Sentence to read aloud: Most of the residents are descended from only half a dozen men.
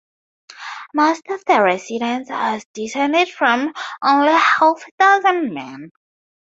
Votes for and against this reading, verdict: 2, 0, accepted